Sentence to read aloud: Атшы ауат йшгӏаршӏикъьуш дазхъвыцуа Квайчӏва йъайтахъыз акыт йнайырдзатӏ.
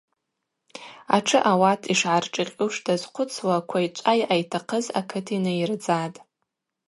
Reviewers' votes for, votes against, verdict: 2, 0, accepted